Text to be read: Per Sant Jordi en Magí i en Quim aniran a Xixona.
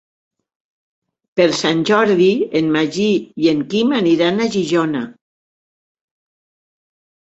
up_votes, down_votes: 2, 0